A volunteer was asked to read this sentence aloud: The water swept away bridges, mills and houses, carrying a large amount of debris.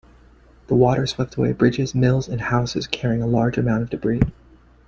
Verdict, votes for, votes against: accepted, 2, 1